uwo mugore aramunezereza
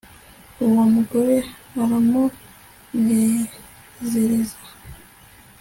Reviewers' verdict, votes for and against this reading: accepted, 3, 0